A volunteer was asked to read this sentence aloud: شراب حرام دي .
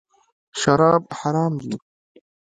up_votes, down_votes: 2, 0